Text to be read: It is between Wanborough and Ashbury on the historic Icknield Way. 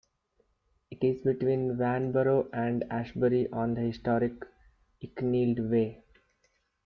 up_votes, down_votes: 1, 2